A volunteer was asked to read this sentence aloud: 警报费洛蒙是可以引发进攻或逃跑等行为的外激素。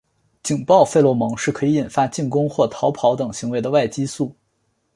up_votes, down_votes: 3, 0